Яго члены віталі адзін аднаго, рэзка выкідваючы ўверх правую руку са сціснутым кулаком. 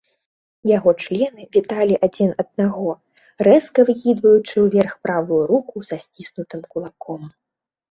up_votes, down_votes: 2, 0